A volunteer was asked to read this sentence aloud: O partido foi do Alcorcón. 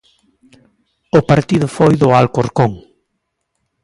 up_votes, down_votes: 2, 0